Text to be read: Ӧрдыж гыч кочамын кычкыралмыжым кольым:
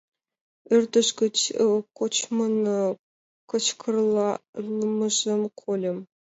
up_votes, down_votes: 0, 2